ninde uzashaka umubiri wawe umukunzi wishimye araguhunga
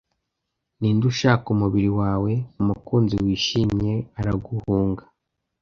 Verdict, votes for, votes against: rejected, 1, 2